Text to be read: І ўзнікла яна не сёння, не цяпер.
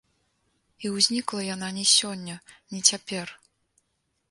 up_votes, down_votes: 2, 0